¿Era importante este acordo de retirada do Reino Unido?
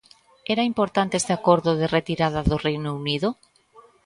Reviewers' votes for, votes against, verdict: 2, 0, accepted